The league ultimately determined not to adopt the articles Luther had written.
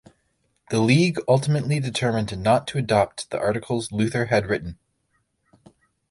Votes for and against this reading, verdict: 1, 2, rejected